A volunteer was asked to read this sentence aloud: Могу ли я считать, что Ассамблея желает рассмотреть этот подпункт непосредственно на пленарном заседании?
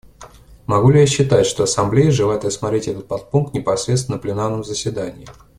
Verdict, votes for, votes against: accepted, 2, 1